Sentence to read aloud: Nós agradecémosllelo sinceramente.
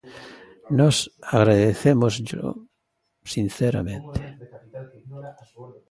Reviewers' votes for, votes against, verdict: 1, 2, rejected